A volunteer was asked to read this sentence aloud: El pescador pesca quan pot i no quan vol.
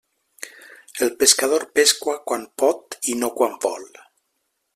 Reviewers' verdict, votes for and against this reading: rejected, 1, 2